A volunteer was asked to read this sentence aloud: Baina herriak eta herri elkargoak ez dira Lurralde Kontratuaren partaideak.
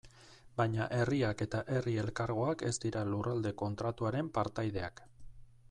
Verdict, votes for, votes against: accepted, 2, 0